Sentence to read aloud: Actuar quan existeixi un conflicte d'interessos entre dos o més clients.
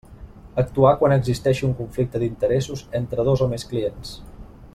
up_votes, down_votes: 2, 0